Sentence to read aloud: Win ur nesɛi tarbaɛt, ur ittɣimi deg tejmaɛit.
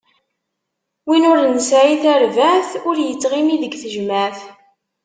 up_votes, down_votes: 1, 2